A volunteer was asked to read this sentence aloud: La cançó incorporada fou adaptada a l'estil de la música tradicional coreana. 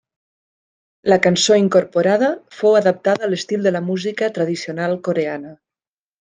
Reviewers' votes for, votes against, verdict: 3, 0, accepted